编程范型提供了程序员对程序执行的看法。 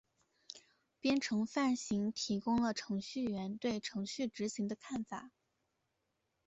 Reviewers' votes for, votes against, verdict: 2, 0, accepted